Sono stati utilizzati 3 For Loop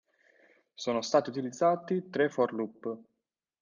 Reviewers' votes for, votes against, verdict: 0, 2, rejected